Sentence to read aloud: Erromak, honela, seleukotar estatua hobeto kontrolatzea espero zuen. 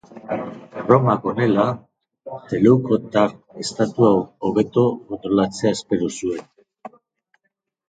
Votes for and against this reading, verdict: 1, 2, rejected